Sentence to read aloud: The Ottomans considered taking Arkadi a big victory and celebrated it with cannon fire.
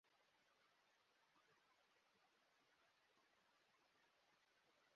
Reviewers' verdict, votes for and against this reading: rejected, 0, 2